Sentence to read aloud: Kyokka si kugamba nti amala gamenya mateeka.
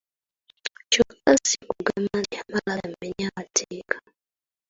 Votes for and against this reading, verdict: 0, 2, rejected